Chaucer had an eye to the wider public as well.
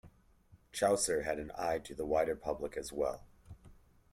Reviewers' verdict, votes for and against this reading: accepted, 2, 0